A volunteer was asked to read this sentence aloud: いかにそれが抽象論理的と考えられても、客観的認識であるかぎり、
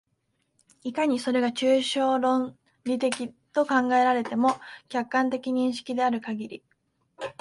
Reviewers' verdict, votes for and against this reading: accepted, 2, 1